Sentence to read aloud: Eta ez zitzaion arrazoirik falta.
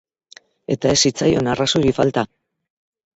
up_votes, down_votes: 2, 2